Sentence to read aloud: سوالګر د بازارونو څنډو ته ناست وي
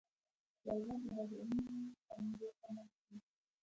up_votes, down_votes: 1, 2